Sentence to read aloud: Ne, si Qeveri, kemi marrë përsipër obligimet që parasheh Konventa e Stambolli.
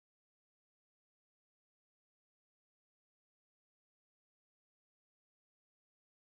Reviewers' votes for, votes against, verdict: 0, 2, rejected